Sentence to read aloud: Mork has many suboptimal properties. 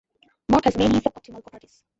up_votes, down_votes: 0, 2